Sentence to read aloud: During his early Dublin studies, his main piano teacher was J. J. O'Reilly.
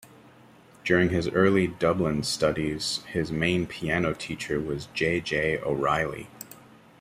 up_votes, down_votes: 2, 0